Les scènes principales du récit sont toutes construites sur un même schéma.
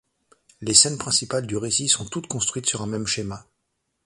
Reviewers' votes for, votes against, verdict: 2, 0, accepted